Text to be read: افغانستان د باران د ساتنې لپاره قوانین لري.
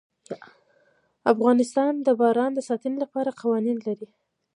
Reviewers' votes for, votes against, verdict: 1, 2, rejected